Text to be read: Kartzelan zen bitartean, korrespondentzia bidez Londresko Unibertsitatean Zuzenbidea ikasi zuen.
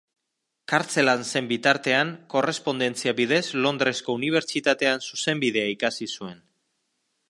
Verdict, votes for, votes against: accepted, 2, 0